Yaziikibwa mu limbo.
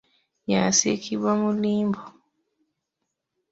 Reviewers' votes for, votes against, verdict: 0, 2, rejected